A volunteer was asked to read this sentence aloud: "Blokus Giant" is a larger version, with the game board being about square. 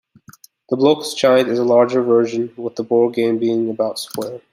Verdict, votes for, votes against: rejected, 0, 2